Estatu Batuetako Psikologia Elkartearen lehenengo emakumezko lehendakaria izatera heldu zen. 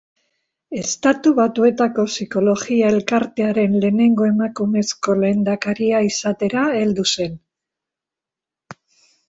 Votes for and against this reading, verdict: 2, 0, accepted